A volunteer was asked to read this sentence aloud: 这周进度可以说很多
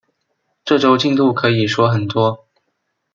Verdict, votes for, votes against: accepted, 2, 0